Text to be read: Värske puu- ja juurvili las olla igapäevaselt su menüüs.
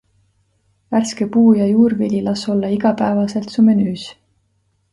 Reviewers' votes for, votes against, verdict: 2, 0, accepted